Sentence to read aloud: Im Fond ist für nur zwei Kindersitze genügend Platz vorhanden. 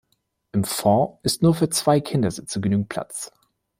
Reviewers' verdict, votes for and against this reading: rejected, 0, 2